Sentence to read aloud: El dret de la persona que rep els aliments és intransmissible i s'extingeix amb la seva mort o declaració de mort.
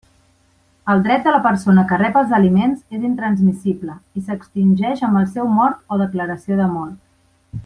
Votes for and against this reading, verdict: 1, 2, rejected